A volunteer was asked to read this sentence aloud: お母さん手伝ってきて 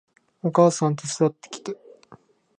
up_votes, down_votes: 2, 0